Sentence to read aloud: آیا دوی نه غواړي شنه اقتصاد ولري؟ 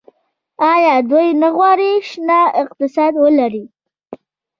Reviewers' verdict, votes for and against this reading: accepted, 2, 0